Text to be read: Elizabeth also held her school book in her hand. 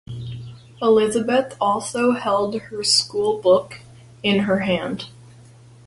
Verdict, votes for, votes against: accepted, 2, 0